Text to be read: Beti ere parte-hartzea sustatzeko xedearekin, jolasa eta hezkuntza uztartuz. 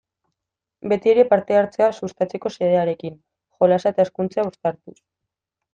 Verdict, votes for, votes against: accepted, 2, 0